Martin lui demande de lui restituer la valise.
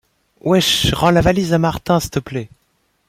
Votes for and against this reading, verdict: 0, 2, rejected